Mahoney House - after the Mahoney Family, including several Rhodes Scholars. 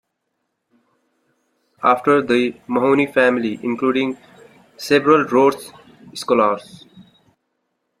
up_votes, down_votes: 1, 3